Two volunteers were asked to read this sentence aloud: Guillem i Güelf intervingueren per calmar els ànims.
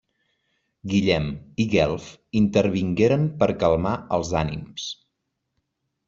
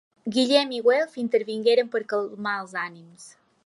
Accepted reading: second